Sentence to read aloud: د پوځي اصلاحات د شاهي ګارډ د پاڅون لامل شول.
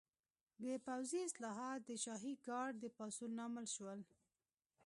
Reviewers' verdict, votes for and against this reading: accepted, 2, 0